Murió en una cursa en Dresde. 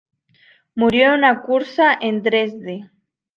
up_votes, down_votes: 2, 1